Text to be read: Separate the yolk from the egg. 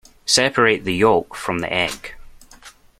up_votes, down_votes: 2, 0